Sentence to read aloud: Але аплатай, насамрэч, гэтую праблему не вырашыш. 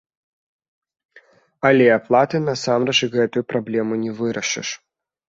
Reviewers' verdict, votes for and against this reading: accepted, 2, 1